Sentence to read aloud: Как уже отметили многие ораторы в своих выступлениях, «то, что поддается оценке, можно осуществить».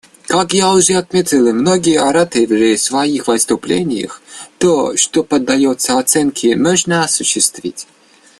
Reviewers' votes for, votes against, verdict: 1, 2, rejected